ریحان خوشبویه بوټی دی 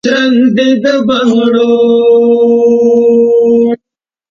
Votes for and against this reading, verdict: 1, 2, rejected